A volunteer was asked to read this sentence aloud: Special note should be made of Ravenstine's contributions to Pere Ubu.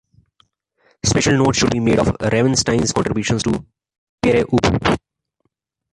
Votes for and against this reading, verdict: 1, 2, rejected